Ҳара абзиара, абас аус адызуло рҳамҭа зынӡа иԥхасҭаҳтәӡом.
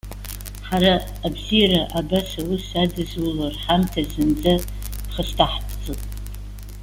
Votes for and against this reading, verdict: 2, 0, accepted